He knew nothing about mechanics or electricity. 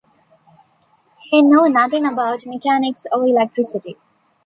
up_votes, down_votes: 2, 0